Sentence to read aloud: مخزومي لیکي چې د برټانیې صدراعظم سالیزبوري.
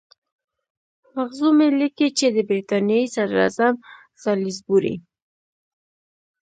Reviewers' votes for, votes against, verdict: 1, 2, rejected